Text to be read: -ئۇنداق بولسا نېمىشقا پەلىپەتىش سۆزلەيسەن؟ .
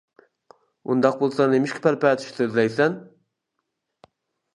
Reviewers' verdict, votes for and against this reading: rejected, 1, 2